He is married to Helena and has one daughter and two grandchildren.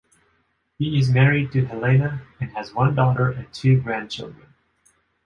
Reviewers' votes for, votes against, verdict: 2, 1, accepted